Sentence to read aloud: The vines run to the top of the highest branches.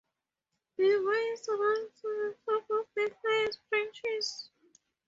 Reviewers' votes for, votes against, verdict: 0, 2, rejected